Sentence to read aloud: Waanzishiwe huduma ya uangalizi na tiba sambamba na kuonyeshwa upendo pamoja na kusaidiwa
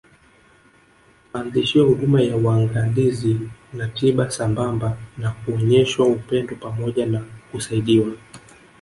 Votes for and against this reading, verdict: 3, 0, accepted